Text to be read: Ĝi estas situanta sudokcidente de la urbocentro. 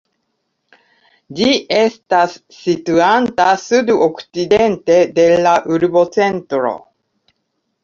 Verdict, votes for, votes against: rejected, 1, 2